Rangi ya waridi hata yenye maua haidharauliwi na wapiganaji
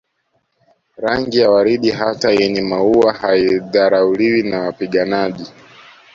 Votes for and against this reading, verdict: 2, 0, accepted